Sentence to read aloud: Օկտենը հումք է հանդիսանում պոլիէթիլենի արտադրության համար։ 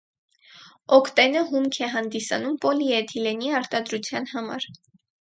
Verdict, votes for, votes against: accepted, 4, 0